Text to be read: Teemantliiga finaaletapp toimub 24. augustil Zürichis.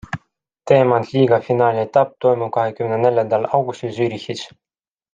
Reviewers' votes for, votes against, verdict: 0, 2, rejected